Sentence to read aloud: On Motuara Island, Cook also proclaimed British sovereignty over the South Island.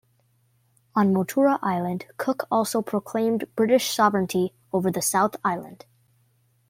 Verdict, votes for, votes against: accepted, 2, 0